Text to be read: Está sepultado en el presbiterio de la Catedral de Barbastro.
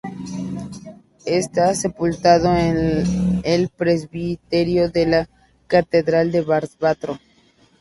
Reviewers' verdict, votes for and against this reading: rejected, 0, 4